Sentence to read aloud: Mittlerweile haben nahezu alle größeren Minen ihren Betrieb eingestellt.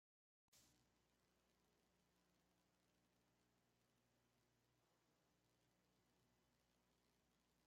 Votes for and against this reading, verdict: 0, 2, rejected